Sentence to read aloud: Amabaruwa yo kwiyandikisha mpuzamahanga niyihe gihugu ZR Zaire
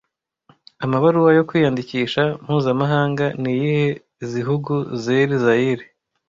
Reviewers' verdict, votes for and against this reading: rejected, 0, 2